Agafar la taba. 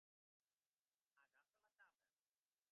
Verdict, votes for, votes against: rejected, 1, 2